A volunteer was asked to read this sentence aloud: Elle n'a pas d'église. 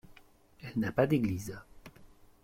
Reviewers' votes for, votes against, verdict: 2, 1, accepted